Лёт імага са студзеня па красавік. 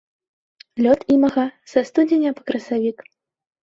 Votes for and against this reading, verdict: 2, 3, rejected